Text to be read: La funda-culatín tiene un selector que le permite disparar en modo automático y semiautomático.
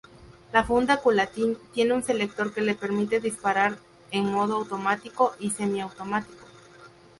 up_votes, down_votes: 2, 0